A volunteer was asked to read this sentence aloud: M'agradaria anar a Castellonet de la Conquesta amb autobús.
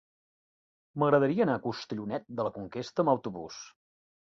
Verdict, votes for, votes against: rejected, 0, 2